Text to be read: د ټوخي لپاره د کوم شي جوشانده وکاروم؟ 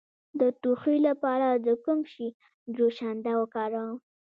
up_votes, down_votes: 2, 1